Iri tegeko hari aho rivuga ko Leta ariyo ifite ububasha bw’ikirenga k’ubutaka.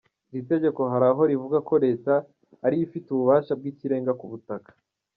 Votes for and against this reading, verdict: 1, 2, rejected